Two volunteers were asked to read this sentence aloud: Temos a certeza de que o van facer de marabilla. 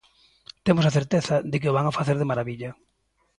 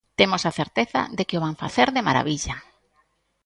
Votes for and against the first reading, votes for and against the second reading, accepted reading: 0, 2, 2, 0, second